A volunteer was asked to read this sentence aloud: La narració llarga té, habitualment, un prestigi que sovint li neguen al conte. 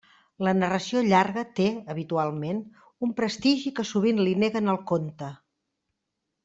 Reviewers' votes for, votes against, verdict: 2, 0, accepted